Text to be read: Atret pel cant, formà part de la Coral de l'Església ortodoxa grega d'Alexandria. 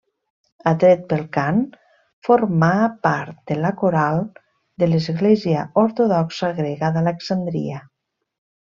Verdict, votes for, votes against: accepted, 2, 0